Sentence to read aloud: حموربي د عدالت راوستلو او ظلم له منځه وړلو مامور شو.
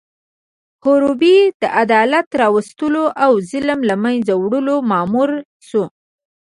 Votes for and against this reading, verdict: 1, 2, rejected